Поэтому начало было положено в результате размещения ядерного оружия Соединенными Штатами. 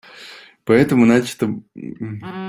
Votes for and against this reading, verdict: 0, 2, rejected